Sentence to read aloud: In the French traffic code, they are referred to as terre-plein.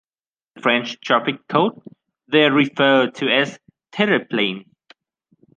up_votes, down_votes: 0, 2